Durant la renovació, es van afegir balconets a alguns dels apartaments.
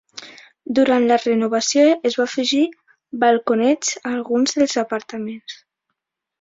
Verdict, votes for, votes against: rejected, 1, 2